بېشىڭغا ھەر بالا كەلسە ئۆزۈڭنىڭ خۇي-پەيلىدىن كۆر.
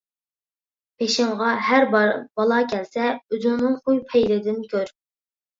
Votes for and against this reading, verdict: 0, 2, rejected